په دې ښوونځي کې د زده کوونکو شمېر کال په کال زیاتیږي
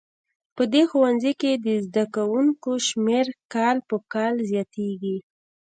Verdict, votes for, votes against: rejected, 0, 2